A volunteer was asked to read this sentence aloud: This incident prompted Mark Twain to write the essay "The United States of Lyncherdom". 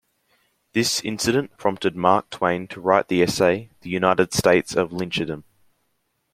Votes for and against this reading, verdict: 2, 0, accepted